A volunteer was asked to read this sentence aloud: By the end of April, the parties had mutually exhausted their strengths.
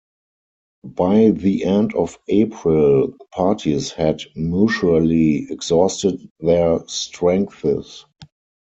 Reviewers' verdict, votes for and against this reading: rejected, 0, 4